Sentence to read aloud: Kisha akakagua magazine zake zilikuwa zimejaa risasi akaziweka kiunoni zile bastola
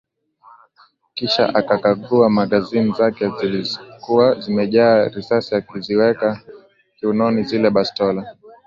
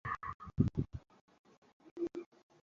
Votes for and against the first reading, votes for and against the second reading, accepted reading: 2, 0, 0, 2, first